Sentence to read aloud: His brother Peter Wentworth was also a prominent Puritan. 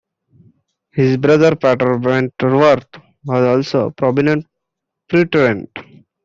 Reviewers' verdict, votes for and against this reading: rejected, 0, 2